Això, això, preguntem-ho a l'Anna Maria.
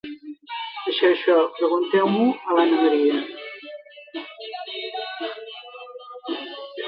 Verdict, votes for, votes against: rejected, 0, 2